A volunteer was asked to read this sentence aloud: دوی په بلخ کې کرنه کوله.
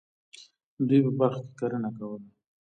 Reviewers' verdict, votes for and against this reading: accepted, 2, 0